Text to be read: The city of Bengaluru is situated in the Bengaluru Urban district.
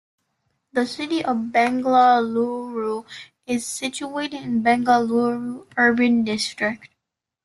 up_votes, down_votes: 0, 2